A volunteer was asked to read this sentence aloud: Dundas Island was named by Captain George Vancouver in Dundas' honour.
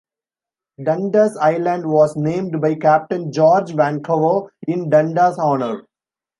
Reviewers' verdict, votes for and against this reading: accepted, 2, 0